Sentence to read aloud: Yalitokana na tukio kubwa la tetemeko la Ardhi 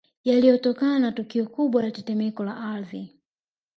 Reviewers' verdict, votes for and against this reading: accepted, 2, 0